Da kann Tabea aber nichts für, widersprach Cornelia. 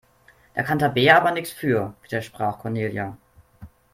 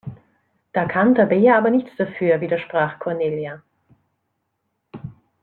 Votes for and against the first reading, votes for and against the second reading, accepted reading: 2, 0, 0, 2, first